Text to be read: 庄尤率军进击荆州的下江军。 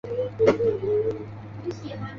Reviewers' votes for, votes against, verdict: 1, 3, rejected